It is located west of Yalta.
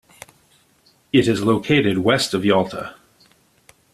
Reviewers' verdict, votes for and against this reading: accepted, 2, 0